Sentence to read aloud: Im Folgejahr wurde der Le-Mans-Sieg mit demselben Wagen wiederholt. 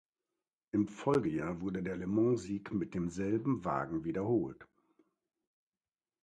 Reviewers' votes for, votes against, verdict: 2, 0, accepted